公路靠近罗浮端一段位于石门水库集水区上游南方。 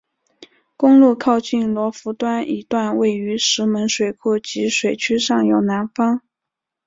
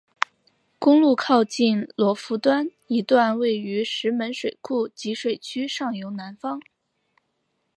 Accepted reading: second